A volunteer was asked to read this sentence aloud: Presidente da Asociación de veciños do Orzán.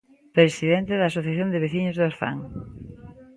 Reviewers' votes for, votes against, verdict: 2, 0, accepted